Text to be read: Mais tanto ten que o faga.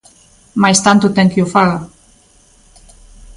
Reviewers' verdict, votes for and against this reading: accepted, 2, 0